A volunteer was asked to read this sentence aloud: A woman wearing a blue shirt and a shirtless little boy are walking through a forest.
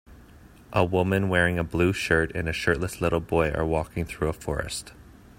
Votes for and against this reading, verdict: 2, 0, accepted